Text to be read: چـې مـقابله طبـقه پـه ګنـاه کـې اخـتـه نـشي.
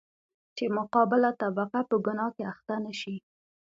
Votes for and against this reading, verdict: 2, 0, accepted